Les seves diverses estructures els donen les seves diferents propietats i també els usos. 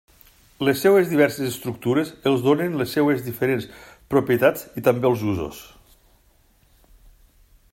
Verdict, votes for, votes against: accepted, 2, 0